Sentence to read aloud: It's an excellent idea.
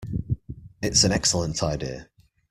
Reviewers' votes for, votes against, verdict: 2, 1, accepted